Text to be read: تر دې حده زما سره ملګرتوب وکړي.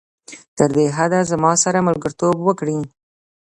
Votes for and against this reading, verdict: 2, 0, accepted